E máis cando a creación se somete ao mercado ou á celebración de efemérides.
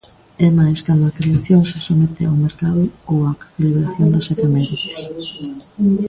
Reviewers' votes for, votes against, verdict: 0, 2, rejected